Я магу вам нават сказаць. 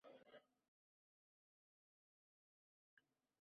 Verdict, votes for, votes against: rejected, 1, 3